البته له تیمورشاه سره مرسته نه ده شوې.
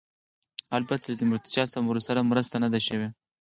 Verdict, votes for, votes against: accepted, 4, 0